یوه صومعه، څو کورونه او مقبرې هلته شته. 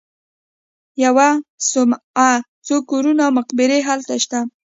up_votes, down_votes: 2, 0